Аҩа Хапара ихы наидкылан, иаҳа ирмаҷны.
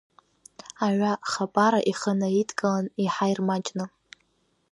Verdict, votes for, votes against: accepted, 2, 0